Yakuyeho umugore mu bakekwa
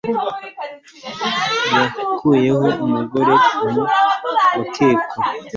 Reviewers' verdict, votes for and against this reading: rejected, 0, 2